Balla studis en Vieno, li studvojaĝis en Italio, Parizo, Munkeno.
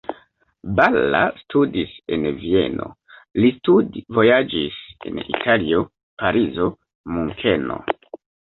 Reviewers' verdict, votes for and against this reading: rejected, 0, 2